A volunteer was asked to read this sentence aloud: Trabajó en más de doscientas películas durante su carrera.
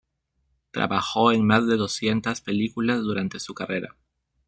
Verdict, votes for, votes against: rejected, 1, 2